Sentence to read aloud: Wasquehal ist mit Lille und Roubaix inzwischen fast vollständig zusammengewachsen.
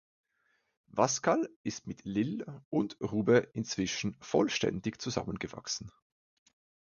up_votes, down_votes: 1, 2